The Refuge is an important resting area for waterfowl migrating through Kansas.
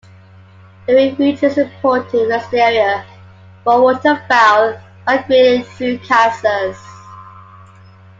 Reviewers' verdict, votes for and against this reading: rejected, 0, 2